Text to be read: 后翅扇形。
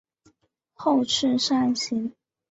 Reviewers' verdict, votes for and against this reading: accepted, 2, 1